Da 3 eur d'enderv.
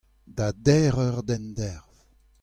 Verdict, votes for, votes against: rejected, 0, 2